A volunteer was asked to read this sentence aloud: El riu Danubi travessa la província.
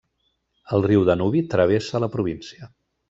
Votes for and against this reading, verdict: 2, 0, accepted